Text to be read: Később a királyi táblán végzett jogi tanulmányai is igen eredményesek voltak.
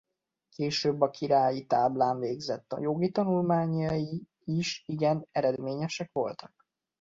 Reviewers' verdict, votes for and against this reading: rejected, 0, 2